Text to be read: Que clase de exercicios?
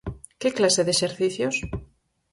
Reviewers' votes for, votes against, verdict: 4, 0, accepted